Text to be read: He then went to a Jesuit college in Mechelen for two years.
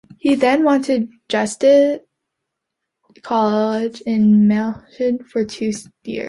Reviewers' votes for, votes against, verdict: 0, 2, rejected